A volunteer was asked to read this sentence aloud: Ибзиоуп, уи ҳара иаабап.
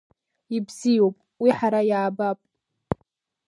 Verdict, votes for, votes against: accepted, 2, 0